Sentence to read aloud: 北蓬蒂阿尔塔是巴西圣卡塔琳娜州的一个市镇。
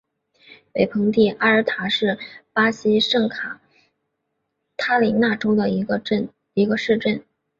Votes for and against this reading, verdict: 0, 3, rejected